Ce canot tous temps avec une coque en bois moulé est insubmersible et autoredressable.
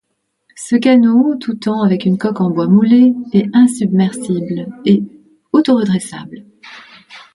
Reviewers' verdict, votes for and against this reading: rejected, 1, 2